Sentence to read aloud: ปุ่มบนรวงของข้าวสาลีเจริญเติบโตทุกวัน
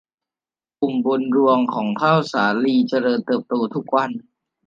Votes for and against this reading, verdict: 2, 0, accepted